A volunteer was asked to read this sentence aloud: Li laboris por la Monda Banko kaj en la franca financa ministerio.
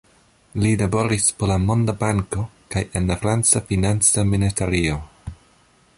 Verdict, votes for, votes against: accepted, 2, 0